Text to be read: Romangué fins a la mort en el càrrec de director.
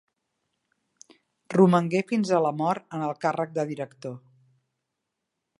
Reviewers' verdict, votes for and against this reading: accepted, 2, 0